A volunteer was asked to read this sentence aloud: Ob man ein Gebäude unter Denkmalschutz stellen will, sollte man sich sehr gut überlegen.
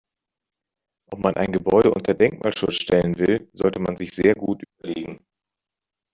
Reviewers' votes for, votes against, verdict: 0, 2, rejected